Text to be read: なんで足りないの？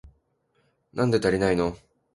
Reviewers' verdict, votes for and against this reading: accepted, 2, 0